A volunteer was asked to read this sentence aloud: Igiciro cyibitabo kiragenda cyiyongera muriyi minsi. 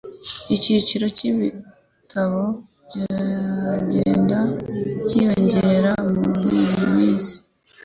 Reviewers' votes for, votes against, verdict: 1, 2, rejected